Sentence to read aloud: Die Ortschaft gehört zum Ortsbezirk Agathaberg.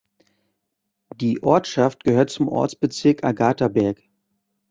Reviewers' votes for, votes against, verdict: 2, 0, accepted